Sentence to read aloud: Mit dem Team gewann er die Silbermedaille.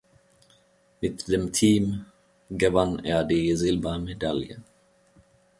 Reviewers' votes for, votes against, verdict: 2, 0, accepted